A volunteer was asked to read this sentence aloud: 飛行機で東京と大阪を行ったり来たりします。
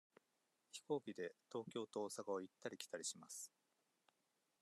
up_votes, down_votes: 2, 0